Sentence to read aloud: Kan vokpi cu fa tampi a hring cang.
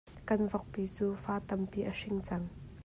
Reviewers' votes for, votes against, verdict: 2, 0, accepted